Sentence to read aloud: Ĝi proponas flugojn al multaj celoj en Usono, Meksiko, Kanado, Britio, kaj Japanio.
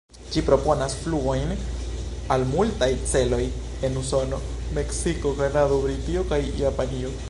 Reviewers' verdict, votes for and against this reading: rejected, 1, 2